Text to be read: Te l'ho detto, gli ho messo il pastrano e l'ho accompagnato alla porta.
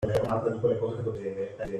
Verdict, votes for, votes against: rejected, 0, 2